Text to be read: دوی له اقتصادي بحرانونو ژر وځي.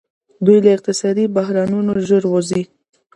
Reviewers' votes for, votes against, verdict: 2, 1, accepted